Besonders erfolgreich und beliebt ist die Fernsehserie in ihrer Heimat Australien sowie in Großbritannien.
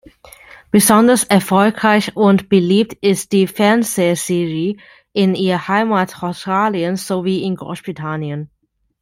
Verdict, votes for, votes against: rejected, 1, 2